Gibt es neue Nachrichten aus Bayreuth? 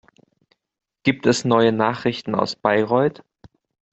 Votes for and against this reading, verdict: 2, 0, accepted